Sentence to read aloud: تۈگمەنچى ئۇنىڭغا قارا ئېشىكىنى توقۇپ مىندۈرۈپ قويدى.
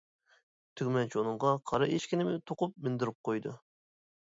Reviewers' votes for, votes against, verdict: 0, 2, rejected